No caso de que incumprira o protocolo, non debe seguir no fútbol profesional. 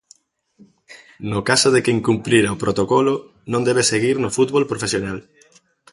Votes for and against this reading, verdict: 2, 0, accepted